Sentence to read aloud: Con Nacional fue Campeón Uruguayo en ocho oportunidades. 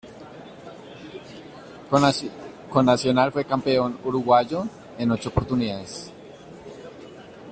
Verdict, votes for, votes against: rejected, 0, 2